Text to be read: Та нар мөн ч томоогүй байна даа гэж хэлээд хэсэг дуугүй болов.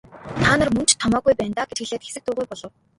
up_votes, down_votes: 1, 2